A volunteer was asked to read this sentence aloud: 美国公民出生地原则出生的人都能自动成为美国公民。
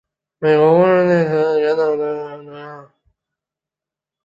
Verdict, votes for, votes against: rejected, 1, 9